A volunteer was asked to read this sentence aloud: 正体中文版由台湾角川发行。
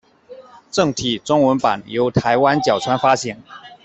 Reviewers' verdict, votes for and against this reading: accepted, 2, 1